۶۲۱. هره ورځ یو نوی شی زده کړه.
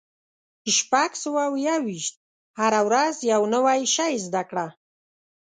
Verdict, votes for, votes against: rejected, 0, 2